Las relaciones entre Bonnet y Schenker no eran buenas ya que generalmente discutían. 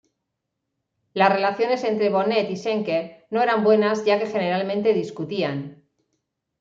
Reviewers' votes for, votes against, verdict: 2, 1, accepted